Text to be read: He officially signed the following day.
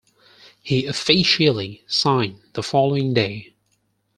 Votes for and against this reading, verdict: 4, 2, accepted